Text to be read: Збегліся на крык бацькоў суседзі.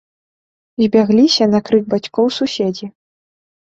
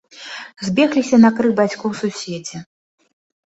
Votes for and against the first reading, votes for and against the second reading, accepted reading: 0, 2, 2, 0, second